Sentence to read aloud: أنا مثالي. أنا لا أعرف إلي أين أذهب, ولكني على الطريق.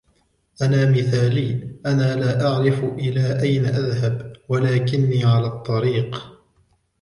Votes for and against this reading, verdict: 1, 2, rejected